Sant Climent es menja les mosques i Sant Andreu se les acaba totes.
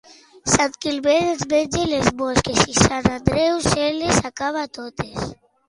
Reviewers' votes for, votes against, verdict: 2, 0, accepted